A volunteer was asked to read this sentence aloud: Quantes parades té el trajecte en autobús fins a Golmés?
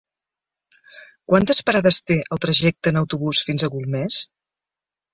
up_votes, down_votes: 3, 0